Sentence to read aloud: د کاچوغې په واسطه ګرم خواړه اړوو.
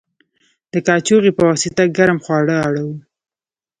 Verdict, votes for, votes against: rejected, 1, 2